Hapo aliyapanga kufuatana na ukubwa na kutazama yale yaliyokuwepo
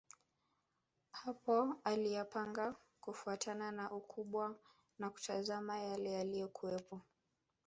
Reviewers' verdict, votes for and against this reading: rejected, 0, 2